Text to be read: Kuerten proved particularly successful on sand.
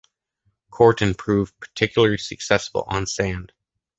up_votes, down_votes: 2, 0